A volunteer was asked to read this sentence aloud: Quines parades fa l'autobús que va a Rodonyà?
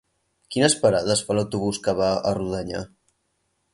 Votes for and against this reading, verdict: 2, 4, rejected